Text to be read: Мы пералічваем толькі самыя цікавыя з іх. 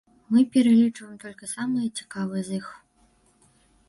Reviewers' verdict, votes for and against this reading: rejected, 0, 3